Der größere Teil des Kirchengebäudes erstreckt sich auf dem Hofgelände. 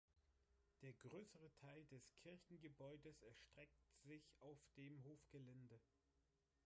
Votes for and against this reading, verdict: 1, 2, rejected